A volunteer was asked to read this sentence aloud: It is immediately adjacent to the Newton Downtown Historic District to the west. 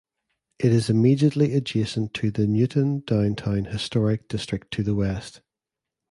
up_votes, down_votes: 2, 0